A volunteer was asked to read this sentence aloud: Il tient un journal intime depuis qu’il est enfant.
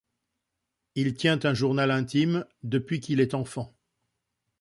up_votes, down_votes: 2, 0